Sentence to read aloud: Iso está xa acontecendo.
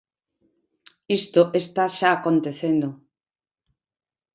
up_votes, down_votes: 1, 2